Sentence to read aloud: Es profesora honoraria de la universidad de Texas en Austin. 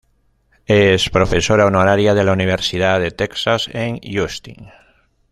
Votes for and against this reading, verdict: 2, 0, accepted